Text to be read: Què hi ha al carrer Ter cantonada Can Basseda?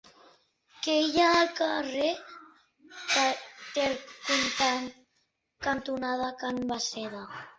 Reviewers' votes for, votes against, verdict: 2, 1, accepted